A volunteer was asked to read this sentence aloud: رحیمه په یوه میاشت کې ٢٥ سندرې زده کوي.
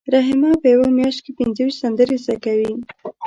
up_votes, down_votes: 0, 2